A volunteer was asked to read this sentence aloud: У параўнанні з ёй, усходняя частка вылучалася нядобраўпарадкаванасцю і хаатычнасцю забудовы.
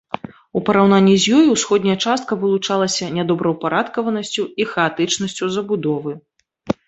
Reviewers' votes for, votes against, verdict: 2, 0, accepted